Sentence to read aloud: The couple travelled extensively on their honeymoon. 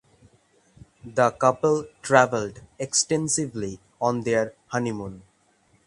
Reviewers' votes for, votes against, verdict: 3, 0, accepted